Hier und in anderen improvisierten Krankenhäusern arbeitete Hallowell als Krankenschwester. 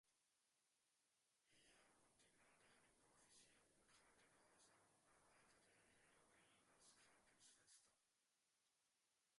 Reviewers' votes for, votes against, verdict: 0, 4, rejected